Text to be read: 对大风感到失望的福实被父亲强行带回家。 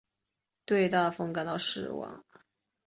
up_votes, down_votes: 2, 2